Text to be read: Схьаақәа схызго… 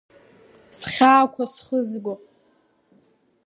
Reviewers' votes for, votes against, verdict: 2, 0, accepted